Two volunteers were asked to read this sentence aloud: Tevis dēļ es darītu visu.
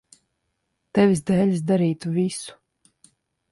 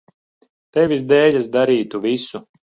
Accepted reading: second